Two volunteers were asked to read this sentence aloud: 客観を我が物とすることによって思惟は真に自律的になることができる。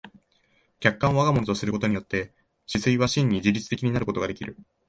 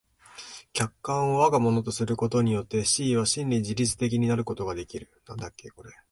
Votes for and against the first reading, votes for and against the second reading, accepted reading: 3, 0, 1, 2, first